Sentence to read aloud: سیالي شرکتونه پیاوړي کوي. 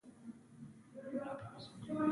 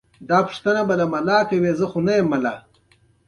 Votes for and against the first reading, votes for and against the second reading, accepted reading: 1, 3, 2, 0, second